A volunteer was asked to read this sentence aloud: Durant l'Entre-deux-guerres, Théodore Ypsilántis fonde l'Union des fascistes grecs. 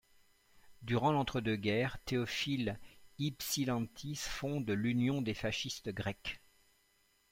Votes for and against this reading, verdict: 0, 2, rejected